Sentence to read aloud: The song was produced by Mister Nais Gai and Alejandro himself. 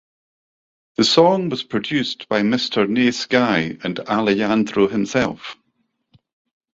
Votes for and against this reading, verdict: 2, 0, accepted